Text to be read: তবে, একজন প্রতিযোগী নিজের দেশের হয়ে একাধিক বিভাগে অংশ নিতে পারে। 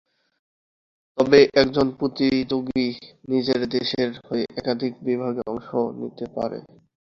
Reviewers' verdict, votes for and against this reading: accepted, 2, 1